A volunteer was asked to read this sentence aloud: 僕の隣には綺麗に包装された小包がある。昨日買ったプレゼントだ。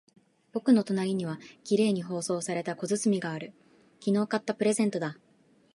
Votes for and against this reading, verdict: 2, 0, accepted